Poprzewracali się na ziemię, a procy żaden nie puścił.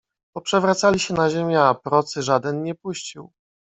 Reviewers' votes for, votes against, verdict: 2, 1, accepted